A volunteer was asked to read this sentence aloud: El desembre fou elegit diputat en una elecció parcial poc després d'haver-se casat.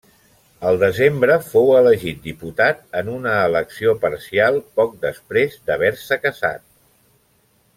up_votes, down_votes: 0, 2